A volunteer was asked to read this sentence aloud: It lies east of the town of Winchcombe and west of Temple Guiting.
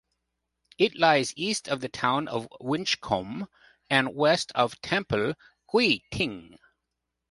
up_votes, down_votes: 0, 2